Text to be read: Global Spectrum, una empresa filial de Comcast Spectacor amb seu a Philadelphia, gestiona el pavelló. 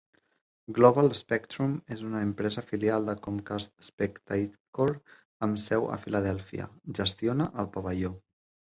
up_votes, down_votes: 0, 2